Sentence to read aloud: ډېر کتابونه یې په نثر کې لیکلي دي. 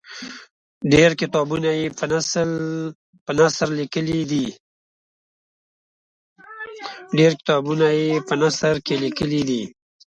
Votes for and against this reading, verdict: 1, 2, rejected